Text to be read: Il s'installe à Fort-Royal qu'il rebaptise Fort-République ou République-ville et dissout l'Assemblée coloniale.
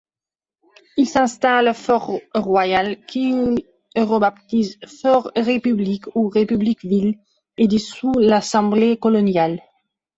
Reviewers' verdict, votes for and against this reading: accepted, 2, 0